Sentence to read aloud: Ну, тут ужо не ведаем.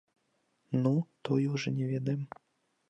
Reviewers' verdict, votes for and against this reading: rejected, 0, 2